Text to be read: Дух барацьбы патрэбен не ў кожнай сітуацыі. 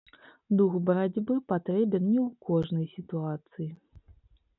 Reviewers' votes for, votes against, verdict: 2, 0, accepted